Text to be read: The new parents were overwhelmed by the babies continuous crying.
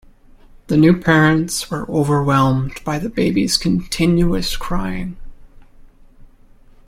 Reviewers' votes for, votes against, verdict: 2, 0, accepted